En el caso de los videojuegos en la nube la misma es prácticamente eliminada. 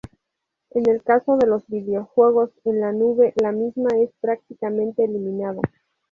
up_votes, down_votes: 0, 2